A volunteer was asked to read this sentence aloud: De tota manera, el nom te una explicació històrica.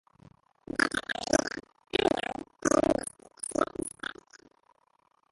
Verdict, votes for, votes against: rejected, 0, 2